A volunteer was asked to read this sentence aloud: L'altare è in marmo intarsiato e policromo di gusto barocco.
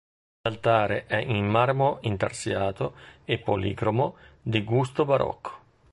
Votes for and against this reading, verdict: 2, 0, accepted